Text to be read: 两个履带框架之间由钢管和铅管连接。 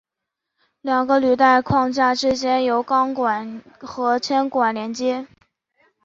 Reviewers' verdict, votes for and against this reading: accepted, 3, 1